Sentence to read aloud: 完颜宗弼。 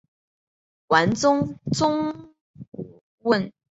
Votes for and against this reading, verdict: 6, 1, accepted